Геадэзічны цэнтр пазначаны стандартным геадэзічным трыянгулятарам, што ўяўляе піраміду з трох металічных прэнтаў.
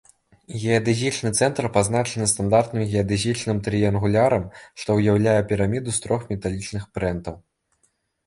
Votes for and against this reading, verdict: 0, 2, rejected